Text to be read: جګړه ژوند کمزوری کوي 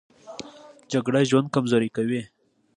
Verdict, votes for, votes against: accepted, 2, 0